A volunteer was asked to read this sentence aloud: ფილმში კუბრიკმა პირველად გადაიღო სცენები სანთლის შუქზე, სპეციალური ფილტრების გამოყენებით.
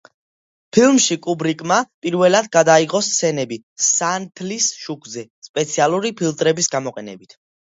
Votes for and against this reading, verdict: 1, 2, rejected